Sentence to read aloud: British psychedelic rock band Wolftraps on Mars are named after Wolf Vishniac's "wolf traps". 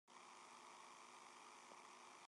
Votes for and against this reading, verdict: 0, 2, rejected